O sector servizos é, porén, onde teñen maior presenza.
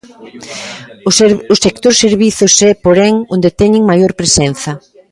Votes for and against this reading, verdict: 0, 2, rejected